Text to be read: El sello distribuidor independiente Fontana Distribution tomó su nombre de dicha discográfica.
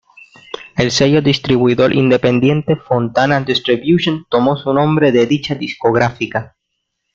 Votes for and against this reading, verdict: 1, 2, rejected